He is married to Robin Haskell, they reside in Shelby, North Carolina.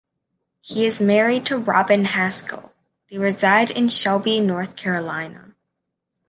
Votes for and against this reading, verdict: 2, 0, accepted